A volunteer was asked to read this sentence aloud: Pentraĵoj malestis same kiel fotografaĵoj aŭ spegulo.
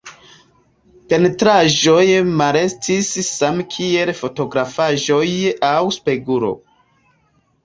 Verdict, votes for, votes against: accepted, 2, 0